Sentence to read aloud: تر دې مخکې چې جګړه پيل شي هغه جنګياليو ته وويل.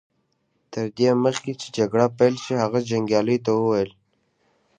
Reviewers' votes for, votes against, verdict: 1, 2, rejected